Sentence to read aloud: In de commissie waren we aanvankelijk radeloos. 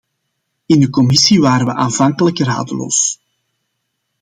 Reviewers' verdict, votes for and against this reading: accepted, 2, 0